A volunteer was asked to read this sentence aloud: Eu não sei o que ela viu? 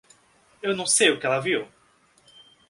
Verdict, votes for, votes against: accepted, 2, 0